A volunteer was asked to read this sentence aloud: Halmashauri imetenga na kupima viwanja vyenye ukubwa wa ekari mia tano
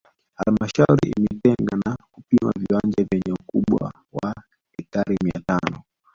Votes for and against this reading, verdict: 0, 2, rejected